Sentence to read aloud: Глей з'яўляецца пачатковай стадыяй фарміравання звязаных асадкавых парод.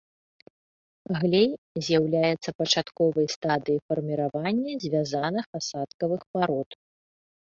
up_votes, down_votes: 2, 0